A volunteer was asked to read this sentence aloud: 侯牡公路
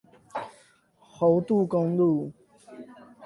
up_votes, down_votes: 4, 8